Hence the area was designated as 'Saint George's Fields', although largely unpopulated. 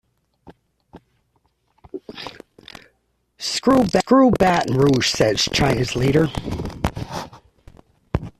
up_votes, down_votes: 0, 2